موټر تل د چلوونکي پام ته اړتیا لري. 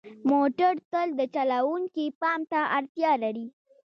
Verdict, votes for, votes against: rejected, 0, 2